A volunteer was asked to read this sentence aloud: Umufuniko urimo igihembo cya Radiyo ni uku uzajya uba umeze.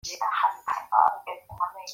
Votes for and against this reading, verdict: 0, 3, rejected